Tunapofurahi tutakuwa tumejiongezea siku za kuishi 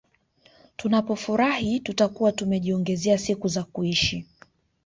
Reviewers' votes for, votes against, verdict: 1, 2, rejected